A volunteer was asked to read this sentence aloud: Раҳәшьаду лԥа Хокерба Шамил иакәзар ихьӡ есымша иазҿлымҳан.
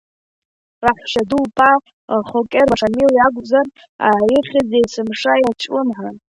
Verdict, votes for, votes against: rejected, 0, 2